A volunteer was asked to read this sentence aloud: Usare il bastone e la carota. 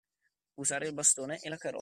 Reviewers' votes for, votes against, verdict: 1, 2, rejected